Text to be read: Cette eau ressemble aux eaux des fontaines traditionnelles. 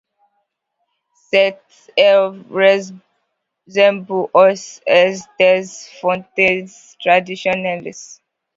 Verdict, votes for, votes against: accepted, 2, 1